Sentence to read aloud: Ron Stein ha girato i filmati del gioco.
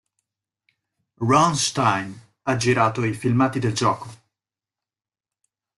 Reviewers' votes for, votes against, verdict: 3, 0, accepted